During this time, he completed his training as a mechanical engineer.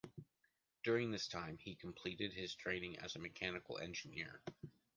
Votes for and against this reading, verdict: 2, 0, accepted